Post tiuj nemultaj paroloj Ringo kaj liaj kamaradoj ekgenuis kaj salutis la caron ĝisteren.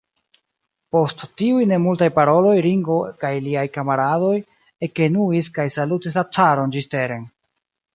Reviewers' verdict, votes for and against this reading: rejected, 0, 2